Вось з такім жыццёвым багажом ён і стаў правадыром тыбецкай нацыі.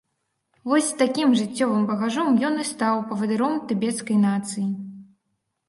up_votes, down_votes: 0, 2